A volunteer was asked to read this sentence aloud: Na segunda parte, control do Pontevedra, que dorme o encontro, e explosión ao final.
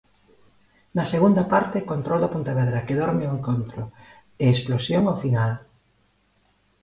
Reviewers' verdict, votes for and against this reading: accepted, 2, 0